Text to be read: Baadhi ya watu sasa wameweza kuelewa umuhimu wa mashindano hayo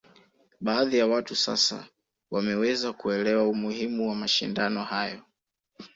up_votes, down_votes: 2, 0